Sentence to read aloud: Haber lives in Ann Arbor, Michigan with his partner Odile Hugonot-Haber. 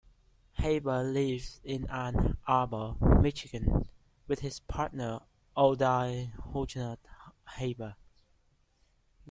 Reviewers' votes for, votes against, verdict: 2, 1, accepted